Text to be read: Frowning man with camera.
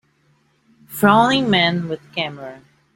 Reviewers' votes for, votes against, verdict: 2, 0, accepted